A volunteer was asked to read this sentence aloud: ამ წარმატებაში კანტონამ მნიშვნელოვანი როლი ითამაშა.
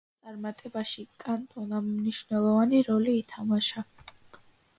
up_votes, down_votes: 1, 2